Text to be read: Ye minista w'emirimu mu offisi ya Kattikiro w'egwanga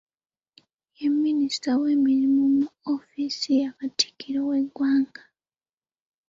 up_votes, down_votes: 0, 2